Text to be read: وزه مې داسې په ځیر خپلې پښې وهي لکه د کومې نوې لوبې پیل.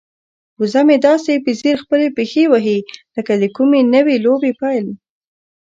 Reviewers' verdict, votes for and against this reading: accepted, 2, 0